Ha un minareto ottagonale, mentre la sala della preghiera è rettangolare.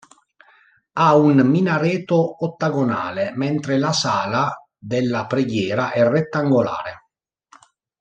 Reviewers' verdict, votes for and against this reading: accepted, 2, 0